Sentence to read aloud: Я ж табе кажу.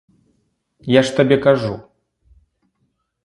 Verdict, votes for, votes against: accepted, 2, 0